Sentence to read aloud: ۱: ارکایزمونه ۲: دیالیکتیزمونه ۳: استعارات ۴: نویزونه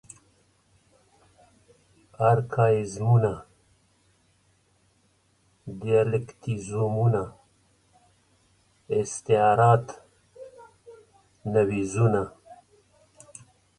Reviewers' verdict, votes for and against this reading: rejected, 0, 2